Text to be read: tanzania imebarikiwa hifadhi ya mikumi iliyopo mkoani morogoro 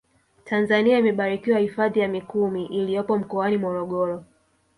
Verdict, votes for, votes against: accepted, 2, 0